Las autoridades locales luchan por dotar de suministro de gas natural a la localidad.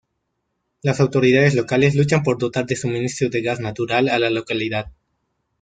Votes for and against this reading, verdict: 0, 2, rejected